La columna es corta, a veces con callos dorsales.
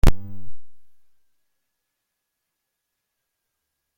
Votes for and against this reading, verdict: 0, 2, rejected